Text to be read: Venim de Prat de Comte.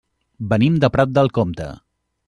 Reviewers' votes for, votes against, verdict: 0, 2, rejected